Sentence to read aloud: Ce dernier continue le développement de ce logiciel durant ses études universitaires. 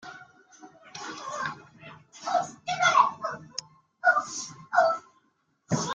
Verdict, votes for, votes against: rejected, 0, 2